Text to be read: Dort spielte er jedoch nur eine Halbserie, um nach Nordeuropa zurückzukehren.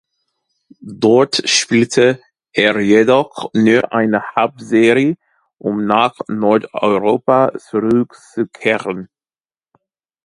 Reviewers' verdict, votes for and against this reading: accepted, 2, 0